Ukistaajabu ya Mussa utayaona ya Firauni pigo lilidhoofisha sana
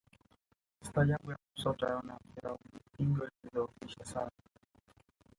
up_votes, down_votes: 2, 3